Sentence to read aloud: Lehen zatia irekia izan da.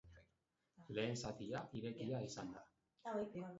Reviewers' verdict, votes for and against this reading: accepted, 2, 1